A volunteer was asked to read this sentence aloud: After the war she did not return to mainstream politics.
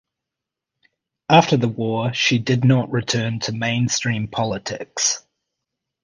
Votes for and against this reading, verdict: 2, 0, accepted